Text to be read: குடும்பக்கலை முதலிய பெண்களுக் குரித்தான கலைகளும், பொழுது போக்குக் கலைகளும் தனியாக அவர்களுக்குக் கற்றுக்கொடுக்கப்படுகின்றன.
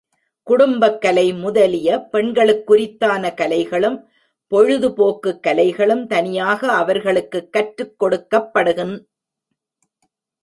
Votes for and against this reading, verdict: 1, 2, rejected